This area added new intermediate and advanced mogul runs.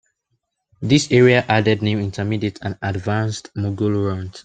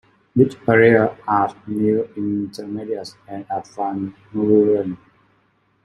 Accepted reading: first